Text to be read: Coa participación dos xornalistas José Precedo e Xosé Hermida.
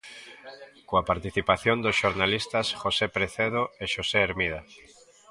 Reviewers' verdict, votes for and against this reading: accepted, 2, 0